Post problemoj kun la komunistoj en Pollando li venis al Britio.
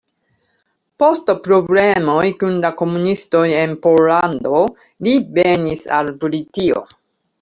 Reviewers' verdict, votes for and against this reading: accepted, 2, 1